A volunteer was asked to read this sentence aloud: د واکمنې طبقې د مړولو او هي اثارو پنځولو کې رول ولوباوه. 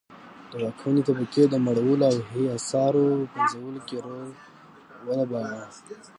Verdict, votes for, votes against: rejected, 1, 2